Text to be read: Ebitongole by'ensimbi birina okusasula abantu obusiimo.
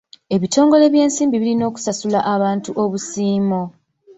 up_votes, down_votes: 2, 0